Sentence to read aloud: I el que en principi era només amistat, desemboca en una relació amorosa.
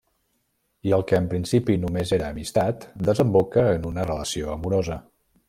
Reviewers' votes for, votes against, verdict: 1, 2, rejected